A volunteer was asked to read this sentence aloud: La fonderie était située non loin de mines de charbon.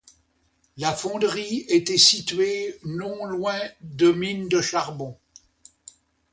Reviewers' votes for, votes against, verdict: 2, 0, accepted